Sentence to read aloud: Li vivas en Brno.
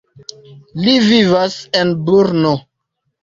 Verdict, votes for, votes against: accepted, 2, 0